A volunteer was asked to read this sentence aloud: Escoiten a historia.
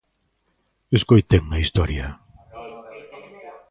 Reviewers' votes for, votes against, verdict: 0, 2, rejected